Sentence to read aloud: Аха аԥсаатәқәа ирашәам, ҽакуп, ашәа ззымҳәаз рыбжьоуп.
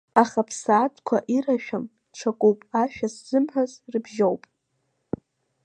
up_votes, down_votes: 3, 1